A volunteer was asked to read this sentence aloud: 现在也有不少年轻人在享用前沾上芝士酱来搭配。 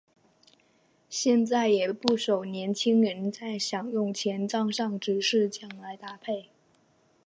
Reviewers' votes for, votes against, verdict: 3, 0, accepted